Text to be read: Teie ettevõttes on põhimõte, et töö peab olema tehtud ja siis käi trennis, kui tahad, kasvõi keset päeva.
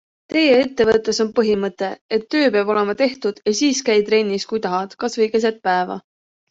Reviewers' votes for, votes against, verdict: 2, 1, accepted